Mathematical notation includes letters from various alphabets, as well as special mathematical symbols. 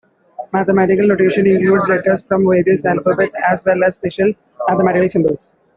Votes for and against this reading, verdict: 2, 0, accepted